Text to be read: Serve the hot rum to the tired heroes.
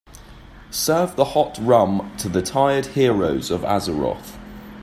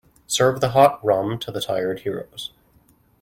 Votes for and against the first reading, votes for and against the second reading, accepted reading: 1, 2, 2, 0, second